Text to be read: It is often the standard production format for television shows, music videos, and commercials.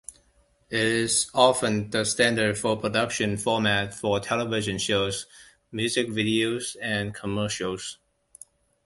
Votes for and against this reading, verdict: 0, 2, rejected